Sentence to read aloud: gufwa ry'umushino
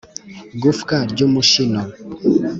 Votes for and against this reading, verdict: 2, 0, accepted